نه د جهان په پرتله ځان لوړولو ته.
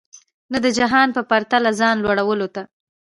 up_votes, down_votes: 1, 2